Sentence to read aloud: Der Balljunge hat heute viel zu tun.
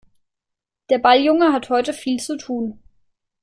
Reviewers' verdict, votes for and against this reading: accepted, 2, 0